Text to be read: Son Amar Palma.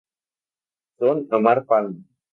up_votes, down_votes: 2, 0